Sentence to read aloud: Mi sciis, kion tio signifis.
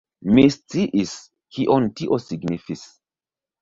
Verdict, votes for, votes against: rejected, 0, 2